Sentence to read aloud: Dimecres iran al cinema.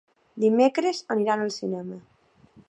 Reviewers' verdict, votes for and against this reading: rejected, 0, 2